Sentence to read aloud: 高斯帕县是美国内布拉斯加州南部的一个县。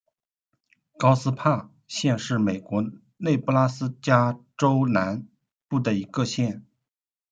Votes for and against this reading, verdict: 2, 0, accepted